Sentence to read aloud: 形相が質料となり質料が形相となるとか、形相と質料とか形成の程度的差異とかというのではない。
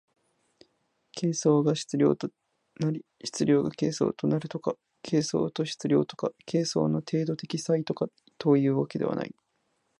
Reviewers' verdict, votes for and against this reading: accepted, 2, 0